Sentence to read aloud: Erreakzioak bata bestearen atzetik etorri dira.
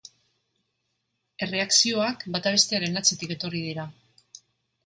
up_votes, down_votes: 3, 0